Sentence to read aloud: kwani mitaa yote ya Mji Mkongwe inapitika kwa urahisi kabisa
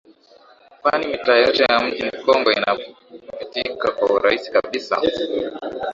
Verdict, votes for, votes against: accepted, 2, 0